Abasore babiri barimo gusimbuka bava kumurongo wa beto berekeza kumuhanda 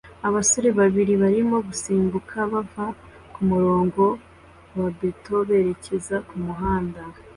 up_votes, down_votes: 2, 0